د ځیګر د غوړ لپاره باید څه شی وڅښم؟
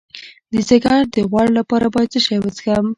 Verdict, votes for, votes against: accepted, 2, 0